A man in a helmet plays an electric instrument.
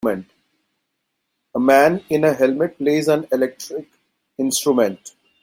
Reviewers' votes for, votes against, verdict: 3, 2, accepted